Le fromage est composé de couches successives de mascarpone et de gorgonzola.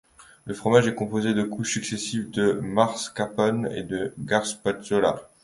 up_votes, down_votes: 1, 2